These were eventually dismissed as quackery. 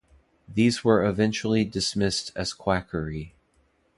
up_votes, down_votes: 2, 0